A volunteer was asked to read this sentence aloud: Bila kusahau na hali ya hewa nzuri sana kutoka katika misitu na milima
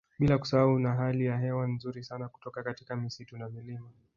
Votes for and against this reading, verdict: 1, 2, rejected